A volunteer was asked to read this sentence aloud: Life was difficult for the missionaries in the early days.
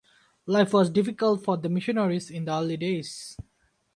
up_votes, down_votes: 4, 0